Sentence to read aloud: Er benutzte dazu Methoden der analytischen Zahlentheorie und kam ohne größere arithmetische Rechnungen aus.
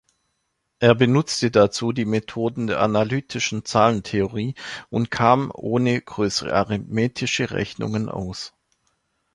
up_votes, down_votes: 0, 2